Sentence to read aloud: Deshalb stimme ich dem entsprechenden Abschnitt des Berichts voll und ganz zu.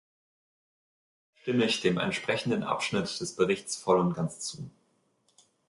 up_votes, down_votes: 0, 2